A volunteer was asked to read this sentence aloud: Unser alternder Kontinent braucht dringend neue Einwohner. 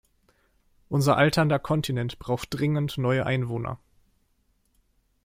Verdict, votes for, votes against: accepted, 2, 0